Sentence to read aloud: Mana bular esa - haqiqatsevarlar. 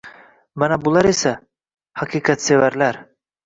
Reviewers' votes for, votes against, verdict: 2, 0, accepted